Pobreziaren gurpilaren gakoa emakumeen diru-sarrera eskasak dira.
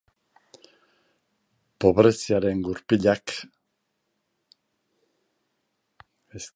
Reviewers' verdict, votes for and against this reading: rejected, 0, 2